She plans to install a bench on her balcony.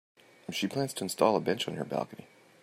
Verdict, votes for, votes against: accepted, 2, 0